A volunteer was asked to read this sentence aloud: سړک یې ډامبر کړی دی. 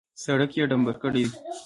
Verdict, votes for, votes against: rejected, 1, 2